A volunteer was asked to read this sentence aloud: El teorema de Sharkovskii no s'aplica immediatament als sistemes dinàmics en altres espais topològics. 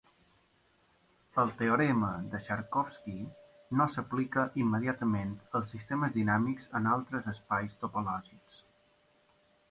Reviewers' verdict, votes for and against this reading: accepted, 3, 0